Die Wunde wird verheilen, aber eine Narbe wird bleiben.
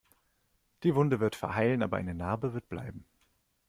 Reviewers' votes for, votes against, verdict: 2, 0, accepted